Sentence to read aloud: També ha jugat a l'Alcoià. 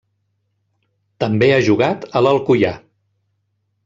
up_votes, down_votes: 2, 0